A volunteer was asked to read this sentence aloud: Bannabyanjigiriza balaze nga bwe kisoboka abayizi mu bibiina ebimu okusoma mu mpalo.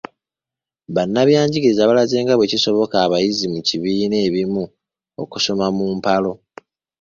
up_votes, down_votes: 0, 2